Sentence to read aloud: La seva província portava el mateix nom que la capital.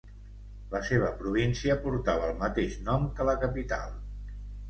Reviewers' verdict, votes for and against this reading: accepted, 2, 0